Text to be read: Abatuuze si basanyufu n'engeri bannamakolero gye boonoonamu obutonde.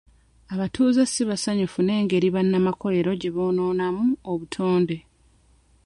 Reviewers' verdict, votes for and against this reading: accepted, 2, 0